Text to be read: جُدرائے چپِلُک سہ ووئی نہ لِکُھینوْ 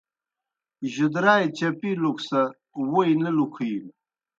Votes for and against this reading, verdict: 2, 0, accepted